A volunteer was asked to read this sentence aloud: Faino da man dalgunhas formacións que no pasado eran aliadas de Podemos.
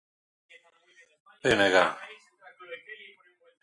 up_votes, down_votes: 0, 3